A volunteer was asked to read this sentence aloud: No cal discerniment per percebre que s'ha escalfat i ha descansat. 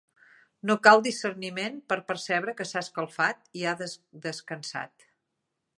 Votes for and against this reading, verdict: 0, 2, rejected